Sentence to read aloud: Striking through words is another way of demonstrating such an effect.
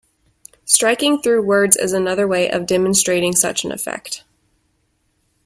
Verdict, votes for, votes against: accepted, 2, 0